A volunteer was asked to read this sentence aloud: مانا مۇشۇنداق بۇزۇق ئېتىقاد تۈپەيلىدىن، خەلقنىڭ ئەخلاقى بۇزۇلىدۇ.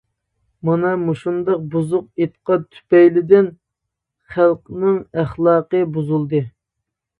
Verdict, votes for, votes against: rejected, 0, 2